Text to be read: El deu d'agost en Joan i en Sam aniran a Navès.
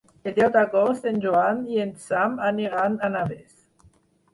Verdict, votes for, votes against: rejected, 2, 4